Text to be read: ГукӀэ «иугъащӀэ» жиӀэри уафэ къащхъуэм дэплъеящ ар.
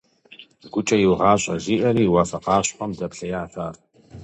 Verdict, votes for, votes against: accepted, 2, 0